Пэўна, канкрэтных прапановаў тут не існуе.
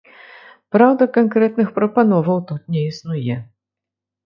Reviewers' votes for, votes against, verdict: 0, 2, rejected